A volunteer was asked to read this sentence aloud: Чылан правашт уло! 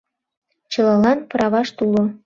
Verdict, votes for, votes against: rejected, 0, 2